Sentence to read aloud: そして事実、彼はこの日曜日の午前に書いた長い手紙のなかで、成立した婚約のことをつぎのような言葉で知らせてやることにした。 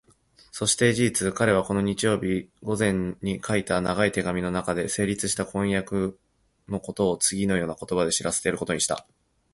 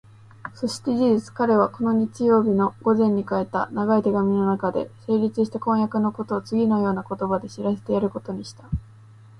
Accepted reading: second